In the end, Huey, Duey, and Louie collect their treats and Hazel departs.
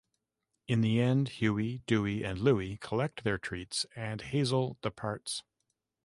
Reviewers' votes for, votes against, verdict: 2, 0, accepted